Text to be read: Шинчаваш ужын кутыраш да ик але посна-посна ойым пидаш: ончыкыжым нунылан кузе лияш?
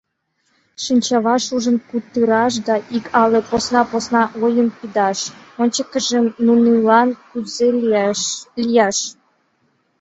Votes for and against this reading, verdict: 0, 2, rejected